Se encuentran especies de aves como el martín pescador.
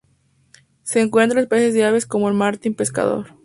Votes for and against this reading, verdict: 2, 0, accepted